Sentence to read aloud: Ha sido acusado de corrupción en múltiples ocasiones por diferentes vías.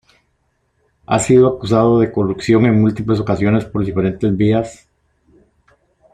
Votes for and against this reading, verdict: 2, 1, accepted